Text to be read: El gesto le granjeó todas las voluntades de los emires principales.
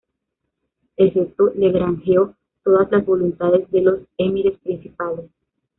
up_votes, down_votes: 2, 1